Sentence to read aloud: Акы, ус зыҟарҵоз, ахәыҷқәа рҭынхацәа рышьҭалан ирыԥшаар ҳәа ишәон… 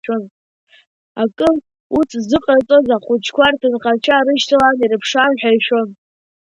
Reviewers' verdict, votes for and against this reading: rejected, 1, 2